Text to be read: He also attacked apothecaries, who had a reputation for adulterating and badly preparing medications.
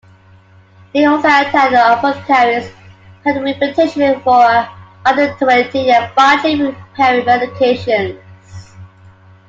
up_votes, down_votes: 0, 2